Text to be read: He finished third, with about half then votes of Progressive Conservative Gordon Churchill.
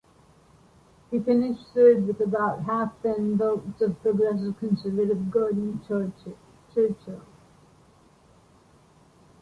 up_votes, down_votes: 0, 2